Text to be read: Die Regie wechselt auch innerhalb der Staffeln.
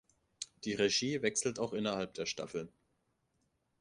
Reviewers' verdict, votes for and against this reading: accepted, 2, 1